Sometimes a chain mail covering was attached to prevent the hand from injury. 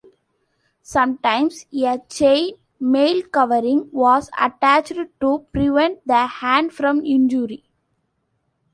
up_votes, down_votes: 2, 1